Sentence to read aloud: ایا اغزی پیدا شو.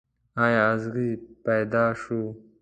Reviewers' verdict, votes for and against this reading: accepted, 2, 0